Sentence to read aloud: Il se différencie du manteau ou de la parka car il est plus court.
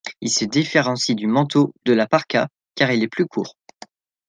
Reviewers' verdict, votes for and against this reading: accepted, 2, 0